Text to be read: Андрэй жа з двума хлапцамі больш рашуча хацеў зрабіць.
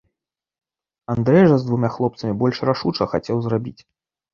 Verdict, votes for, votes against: accepted, 2, 1